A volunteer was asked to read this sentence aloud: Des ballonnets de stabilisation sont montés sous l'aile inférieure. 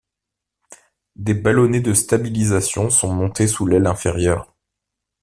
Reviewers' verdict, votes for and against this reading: accepted, 2, 0